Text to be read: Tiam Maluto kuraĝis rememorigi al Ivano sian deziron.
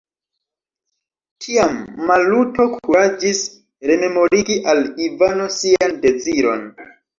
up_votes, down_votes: 2, 1